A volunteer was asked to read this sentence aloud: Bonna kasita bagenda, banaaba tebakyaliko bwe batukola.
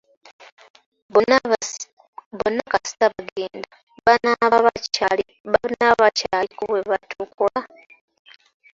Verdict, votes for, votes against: rejected, 0, 2